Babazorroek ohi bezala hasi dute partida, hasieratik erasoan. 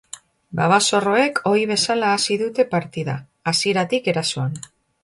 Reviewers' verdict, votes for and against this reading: accepted, 2, 0